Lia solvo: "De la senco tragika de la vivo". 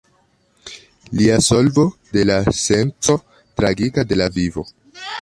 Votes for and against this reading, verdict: 1, 2, rejected